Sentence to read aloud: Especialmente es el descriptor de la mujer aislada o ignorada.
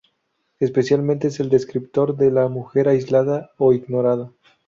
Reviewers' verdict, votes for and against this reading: rejected, 0, 2